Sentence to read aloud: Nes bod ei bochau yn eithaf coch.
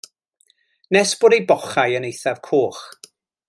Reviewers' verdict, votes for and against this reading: accepted, 2, 0